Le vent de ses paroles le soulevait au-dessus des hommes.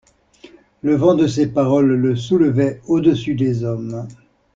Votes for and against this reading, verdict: 2, 0, accepted